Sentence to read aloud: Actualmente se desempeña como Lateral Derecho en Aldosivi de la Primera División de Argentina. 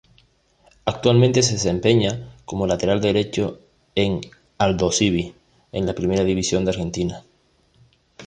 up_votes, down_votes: 0, 2